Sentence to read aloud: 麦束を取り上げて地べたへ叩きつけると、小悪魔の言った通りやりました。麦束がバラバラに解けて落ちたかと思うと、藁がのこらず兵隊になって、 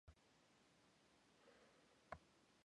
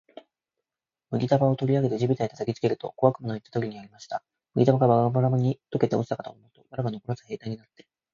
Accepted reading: second